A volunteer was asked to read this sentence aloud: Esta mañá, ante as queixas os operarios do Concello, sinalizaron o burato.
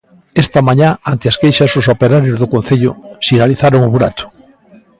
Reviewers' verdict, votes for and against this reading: rejected, 1, 2